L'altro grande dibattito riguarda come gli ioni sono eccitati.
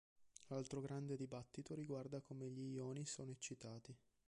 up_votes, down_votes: 0, 2